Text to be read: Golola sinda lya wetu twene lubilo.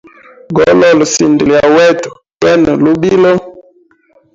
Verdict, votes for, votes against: rejected, 1, 2